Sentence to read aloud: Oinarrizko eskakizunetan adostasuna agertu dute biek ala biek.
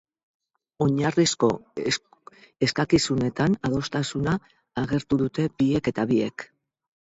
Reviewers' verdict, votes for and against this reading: rejected, 4, 4